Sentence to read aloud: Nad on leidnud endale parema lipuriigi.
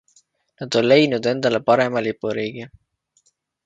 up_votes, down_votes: 2, 0